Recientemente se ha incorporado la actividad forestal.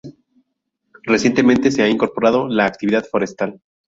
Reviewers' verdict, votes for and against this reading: accepted, 2, 0